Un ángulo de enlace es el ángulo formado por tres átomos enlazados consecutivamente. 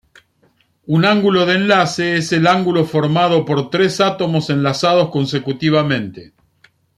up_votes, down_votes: 2, 0